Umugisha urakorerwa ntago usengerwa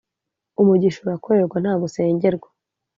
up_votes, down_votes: 2, 0